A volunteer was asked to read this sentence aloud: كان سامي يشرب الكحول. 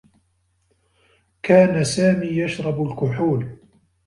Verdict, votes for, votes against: accepted, 2, 0